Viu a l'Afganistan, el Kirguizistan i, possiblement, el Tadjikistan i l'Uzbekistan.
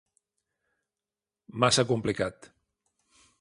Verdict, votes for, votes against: rejected, 0, 2